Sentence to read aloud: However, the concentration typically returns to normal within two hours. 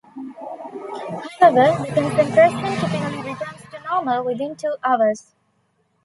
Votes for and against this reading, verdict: 0, 2, rejected